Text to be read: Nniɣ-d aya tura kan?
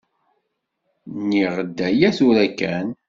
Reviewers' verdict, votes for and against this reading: accepted, 2, 1